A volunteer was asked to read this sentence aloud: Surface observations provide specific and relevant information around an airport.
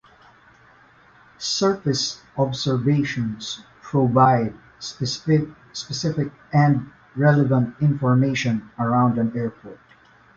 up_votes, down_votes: 2, 1